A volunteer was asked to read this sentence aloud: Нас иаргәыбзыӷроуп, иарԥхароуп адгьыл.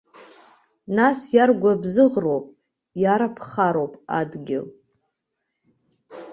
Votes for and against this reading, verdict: 1, 2, rejected